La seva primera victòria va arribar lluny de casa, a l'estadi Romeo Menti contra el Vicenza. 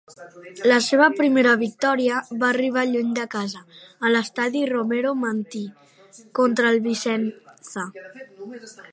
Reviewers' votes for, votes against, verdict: 1, 2, rejected